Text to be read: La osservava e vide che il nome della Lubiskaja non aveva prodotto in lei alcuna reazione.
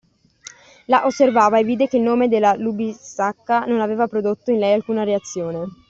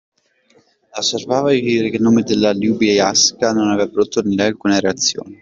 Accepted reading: first